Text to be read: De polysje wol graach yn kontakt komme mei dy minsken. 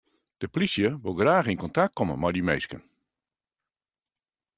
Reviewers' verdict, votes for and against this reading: accepted, 2, 0